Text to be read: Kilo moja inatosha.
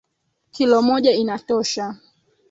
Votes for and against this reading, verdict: 3, 2, accepted